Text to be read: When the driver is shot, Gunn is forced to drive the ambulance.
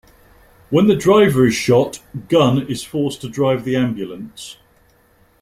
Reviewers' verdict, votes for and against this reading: accepted, 2, 0